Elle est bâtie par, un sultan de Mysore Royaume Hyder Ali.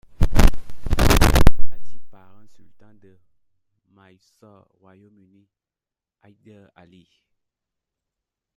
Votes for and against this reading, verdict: 0, 2, rejected